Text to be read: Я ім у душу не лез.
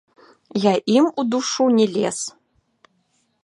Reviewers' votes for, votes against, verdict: 2, 0, accepted